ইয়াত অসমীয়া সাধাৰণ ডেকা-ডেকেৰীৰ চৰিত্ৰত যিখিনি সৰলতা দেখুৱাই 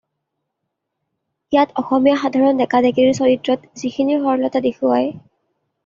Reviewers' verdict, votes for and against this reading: rejected, 0, 2